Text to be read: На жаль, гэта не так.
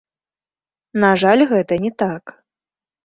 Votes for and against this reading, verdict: 1, 2, rejected